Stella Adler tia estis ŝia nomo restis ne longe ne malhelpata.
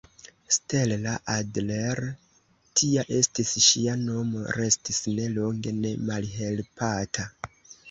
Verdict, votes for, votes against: rejected, 1, 2